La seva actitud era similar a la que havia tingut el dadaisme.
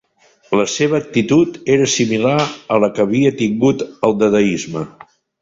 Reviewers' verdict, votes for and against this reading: accepted, 3, 0